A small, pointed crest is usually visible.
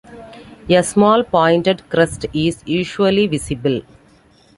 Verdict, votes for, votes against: accepted, 2, 0